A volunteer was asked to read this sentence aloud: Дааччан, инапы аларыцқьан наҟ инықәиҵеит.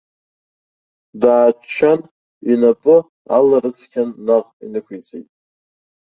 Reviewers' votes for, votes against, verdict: 2, 0, accepted